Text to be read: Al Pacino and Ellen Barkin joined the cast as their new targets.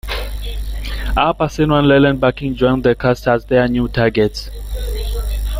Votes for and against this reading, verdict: 3, 1, accepted